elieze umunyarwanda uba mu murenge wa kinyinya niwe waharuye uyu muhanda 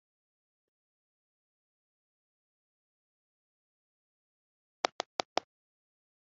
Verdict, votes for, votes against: rejected, 0, 2